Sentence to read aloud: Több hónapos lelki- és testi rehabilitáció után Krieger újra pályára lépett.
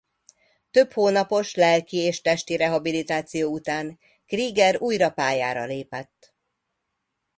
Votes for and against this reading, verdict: 2, 0, accepted